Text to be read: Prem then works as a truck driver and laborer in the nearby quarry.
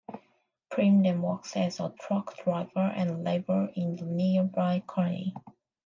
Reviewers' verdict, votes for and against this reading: accepted, 2, 1